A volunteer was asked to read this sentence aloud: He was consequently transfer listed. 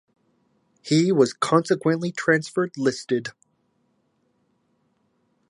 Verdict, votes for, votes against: accepted, 2, 0